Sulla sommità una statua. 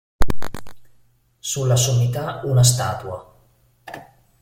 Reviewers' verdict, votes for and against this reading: accepted, 2, 0